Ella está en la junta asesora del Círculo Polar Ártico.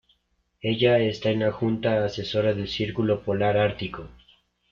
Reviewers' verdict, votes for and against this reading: accepted, 2, 0